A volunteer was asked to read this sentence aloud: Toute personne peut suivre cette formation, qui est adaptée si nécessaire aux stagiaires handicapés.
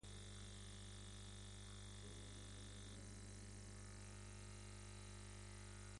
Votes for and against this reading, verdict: 0, 2, rejected